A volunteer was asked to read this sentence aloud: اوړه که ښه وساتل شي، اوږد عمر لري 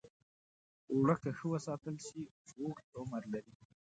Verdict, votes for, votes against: accepted, 3, 0